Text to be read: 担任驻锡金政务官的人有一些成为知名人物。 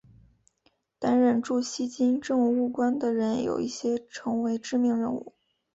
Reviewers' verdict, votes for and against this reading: accepted, 2, 0